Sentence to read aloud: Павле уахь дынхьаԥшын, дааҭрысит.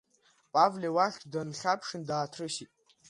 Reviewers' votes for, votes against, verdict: 2, 0, accepted